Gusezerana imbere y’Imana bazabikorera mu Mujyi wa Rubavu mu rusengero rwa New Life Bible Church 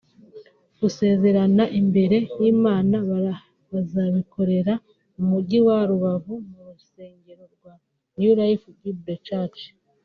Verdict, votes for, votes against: accepted, 2, 1